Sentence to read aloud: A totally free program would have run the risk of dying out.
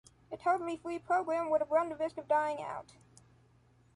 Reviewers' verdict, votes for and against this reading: accepted, 2, 0